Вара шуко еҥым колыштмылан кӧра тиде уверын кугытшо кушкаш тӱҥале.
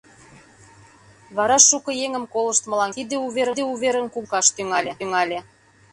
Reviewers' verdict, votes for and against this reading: rejected, 0, 2